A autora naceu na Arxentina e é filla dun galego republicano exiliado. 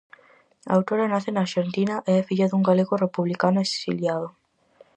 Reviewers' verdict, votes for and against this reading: rejected, 2, 2